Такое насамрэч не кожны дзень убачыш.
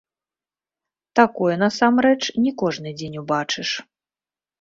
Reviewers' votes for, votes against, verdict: 0, 2, rejected